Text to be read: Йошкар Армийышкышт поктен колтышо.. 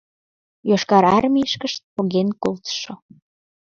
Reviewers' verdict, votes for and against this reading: rejected, 3, 4